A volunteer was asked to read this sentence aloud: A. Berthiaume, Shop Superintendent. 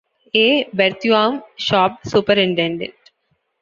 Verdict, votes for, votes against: rejected, 1, 2